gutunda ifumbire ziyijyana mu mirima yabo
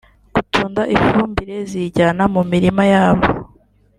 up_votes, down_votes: 2, 0